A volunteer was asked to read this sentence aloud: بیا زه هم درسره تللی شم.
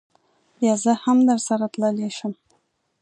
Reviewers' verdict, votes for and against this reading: accepted, 2, 0